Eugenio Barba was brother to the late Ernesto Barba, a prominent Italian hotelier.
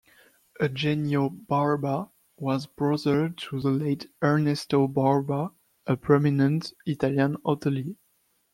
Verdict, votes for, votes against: accepted, 2, 0